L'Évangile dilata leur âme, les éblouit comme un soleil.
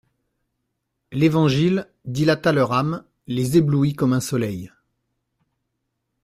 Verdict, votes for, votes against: accepted, 2, 0